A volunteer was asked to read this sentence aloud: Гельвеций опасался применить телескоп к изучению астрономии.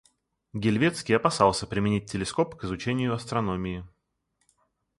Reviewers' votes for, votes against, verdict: 1, 2, rejected